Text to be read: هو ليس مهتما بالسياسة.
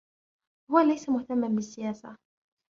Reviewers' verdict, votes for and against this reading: rejected, 1, 2